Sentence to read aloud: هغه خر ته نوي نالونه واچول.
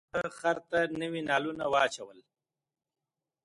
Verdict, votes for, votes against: accepted, 2, 1